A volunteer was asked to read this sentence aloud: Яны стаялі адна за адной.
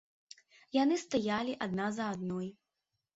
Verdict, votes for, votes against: accepted, 2, 0